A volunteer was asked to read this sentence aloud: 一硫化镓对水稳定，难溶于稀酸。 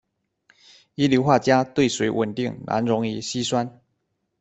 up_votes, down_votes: 2, 0